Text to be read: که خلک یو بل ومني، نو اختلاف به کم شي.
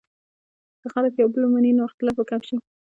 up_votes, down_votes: 0, 2